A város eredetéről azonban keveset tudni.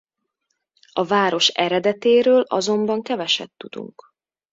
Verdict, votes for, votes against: rejected, 0, 2